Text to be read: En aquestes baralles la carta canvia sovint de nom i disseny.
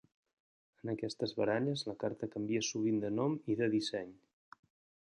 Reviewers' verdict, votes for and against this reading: rejected, 1, 2